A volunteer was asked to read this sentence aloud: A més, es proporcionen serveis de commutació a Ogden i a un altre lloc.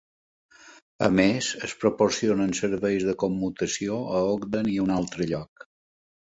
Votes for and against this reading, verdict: 2, 0, accepted